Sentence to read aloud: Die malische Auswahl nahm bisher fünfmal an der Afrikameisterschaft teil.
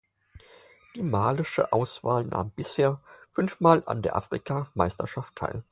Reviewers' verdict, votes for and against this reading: accepted, 4, 0